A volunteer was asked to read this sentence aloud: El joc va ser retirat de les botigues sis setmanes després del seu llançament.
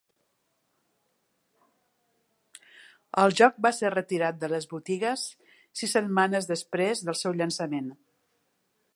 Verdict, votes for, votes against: accepted, 3, 0